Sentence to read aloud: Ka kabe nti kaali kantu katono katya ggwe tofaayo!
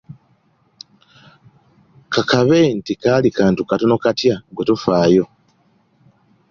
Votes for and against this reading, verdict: 2, 0, accepted